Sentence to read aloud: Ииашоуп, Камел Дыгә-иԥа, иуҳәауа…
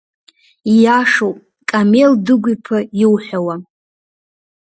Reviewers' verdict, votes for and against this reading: accepted, 2, 0